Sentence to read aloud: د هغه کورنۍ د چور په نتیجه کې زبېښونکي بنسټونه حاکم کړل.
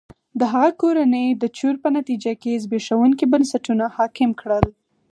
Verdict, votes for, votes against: accepted, 4, 0